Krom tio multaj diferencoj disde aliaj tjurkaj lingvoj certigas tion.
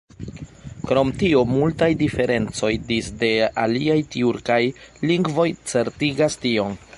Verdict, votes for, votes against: accepted, 3, 1